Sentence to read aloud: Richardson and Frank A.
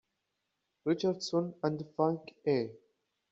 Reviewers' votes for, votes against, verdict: 2, 0, accepted